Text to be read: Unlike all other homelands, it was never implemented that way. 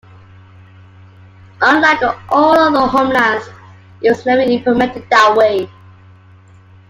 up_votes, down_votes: 2, 1